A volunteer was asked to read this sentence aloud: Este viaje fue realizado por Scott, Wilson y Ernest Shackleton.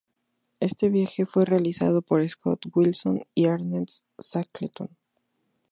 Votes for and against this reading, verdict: 0, 2, rejected